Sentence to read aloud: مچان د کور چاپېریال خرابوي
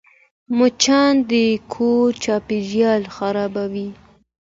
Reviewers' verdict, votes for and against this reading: accepted, 2, 0